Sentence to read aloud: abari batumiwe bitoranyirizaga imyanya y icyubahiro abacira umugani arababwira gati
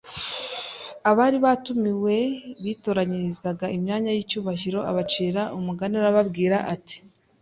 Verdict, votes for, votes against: rejected, 1, 2